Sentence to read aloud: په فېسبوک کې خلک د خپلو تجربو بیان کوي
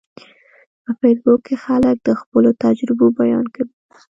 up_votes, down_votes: 1, 2